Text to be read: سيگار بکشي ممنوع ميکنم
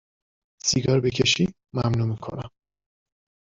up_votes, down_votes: 2, 0